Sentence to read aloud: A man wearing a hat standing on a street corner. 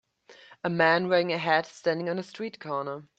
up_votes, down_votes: 2, 0